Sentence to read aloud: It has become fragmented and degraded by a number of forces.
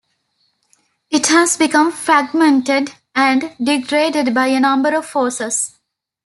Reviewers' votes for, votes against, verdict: 2, 0, accepted